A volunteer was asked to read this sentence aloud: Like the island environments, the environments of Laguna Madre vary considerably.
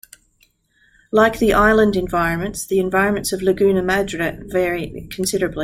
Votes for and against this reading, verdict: 1, 2, rejected